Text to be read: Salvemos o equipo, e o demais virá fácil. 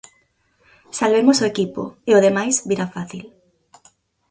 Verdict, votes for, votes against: accepted, 4, 0